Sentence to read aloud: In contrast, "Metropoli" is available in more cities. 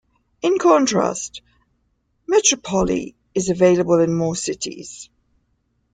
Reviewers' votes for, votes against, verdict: 2, 0, accepted